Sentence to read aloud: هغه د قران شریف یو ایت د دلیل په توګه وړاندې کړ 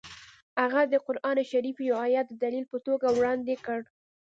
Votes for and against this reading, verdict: 2, 0, accepted